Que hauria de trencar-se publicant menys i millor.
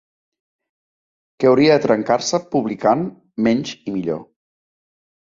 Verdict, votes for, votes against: accepted, 2, 0